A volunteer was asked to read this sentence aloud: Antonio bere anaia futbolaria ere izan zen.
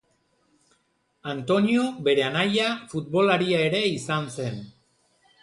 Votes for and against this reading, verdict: 1, 2, rejected